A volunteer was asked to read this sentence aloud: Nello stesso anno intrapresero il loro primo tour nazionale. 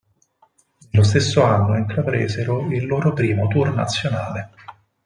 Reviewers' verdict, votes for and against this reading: rejected, 0, 4